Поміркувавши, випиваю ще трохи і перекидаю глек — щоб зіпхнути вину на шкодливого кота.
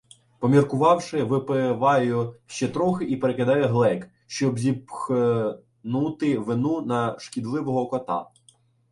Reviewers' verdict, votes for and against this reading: rejected, 1, 2